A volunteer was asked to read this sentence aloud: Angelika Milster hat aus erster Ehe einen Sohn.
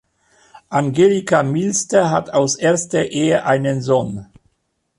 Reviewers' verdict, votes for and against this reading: accepted, 2, 0